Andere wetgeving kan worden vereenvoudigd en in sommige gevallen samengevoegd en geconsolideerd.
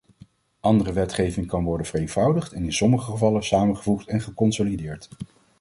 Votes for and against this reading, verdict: 2, 0, accepted